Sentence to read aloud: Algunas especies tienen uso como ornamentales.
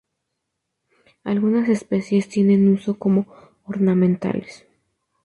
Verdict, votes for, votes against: accepted, 2, 0